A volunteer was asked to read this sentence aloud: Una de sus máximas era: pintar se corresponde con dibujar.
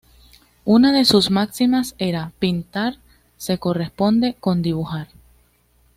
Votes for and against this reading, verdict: 2, 0, accepted